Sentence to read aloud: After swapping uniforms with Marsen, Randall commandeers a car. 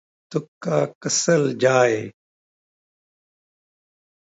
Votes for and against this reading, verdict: 0, 2, rejected